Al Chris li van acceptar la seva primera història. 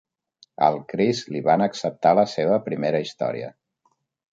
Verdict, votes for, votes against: accepted, 2, 0